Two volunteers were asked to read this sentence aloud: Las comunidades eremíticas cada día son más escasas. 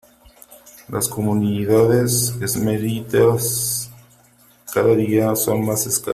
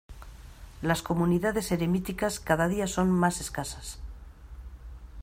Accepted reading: second